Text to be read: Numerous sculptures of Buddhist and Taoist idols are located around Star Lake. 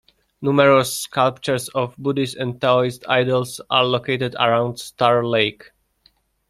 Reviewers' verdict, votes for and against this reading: accepted, 2, 0